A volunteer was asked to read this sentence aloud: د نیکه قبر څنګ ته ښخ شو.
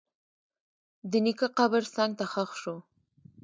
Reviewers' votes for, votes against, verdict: 1, 2, rejected